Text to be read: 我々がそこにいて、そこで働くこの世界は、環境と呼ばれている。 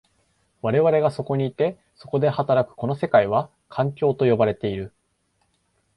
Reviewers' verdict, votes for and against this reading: accepted, 2, 0